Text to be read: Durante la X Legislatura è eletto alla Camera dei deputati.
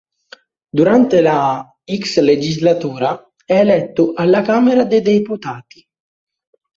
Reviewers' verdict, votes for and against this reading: rejected, 0, 2